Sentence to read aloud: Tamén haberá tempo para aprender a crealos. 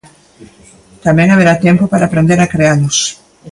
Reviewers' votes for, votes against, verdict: 2, 0, accepted